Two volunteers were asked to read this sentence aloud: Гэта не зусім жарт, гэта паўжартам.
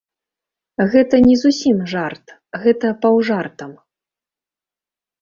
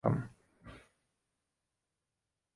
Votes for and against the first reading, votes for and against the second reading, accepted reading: 2, 0, 1, 2, first